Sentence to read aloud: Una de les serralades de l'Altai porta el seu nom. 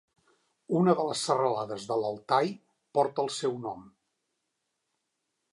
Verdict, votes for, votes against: accepted, 3, 0